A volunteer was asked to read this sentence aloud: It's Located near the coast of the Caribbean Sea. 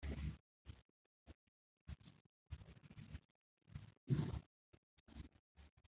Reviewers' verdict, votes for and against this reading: rejected, 0, 2